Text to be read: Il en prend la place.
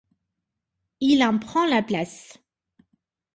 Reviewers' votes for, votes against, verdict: 2, 0, accepted